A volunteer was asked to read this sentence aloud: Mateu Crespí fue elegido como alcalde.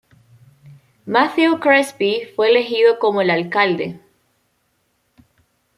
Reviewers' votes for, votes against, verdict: 0, 2, rejected